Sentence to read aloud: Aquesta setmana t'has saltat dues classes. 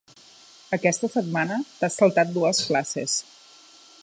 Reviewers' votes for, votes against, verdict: 2, 0, accepted